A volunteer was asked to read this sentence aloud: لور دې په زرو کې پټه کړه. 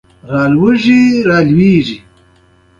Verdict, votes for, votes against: accepted, 2, 0